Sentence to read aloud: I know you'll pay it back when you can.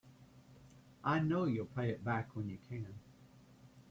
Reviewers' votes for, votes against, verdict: 0, 3, rejected